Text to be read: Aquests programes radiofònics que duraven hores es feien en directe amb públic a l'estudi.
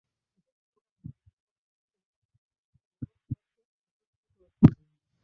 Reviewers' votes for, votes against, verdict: 0, 2, rejected